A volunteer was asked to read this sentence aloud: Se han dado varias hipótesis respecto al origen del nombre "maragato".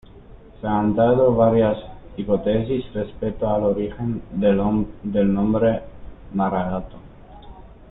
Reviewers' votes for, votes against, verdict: 0, 2, rejected